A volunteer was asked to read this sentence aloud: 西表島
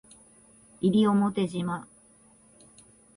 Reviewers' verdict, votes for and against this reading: accepted, 2, 0